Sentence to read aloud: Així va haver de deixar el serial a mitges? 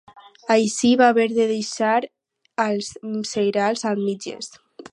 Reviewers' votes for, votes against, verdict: 2, 4, rejected